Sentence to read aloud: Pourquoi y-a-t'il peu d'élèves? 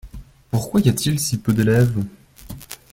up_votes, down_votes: 1, 2